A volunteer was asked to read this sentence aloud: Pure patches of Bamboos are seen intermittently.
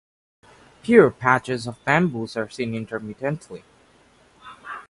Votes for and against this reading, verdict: 0, 2, rejected